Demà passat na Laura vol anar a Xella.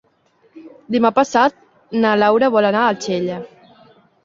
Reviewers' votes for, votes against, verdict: 2, 0, accepted